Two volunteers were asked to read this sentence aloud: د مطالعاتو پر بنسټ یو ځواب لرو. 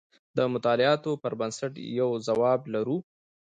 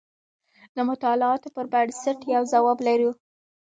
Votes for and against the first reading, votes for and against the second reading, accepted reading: 2, 1, 0, 2, first